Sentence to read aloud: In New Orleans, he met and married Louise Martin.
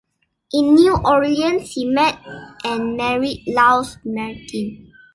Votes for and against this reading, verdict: 1, 2, rejected